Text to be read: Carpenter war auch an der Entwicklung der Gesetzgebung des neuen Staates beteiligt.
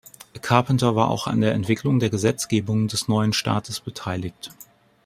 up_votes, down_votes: 2, 0